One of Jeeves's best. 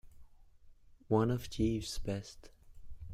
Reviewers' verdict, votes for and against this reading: accepted, 2, 0